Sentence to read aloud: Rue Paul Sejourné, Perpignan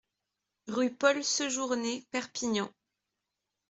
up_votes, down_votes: 2, 0